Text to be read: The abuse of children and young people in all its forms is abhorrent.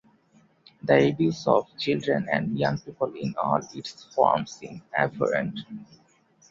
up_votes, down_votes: 1, 2